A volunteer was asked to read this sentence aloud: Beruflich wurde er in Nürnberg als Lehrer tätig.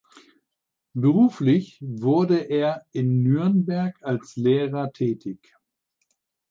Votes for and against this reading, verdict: 4, 0, accepted